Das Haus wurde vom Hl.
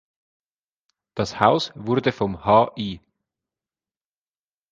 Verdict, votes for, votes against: rejected, 1, 2